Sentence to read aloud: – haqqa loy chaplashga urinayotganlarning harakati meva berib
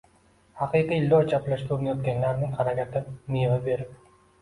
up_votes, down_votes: 2, 0